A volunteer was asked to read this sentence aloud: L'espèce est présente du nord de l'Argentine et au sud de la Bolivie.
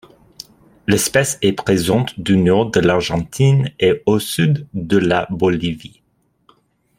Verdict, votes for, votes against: accepted, 2, 0